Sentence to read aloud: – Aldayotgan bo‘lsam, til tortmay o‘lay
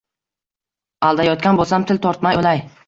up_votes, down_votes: 2, 0